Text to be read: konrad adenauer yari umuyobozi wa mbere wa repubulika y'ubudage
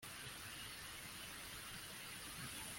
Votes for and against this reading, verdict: 0, 2, rejected